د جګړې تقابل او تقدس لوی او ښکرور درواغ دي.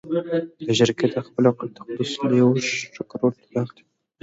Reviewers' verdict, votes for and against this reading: rejected, 1, 2